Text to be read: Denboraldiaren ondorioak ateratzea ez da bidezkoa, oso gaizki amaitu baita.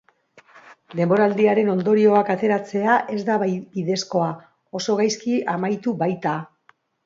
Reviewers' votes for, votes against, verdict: 0, 2, rejected